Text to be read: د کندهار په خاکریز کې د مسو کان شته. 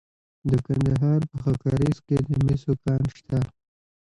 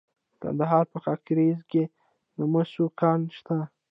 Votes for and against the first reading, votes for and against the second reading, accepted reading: 1, 2, 2, 0, second